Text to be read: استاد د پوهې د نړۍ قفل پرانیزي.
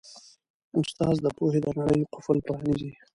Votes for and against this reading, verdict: 1, 2, rejected